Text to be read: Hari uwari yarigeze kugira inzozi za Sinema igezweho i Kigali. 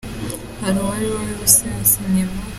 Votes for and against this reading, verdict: 1, 3, rejected